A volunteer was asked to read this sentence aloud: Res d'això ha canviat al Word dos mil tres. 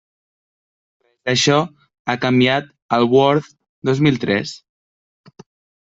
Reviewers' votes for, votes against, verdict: 0, 2, rejected